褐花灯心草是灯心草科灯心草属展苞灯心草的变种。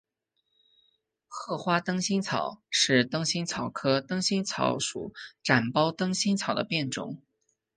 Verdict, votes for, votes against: accepted, 2, 0